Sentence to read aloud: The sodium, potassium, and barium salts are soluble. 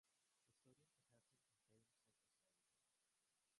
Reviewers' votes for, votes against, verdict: 0, 3, rejected